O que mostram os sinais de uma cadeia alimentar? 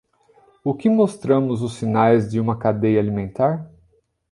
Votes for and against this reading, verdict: 0, 2, rejected